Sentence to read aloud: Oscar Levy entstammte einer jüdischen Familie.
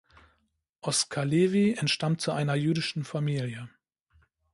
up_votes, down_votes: 0, 2